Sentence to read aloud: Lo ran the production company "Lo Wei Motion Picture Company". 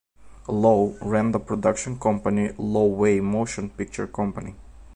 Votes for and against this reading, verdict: 2, 0, accepted